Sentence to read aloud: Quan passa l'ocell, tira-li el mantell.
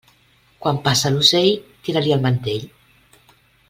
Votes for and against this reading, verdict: 3, 0, accepted